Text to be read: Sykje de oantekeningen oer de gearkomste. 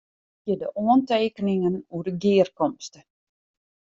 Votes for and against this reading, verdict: 0, 2, rejected